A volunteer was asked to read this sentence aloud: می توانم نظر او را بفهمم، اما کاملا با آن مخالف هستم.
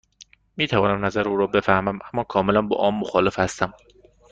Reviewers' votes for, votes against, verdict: 2, 0, accepted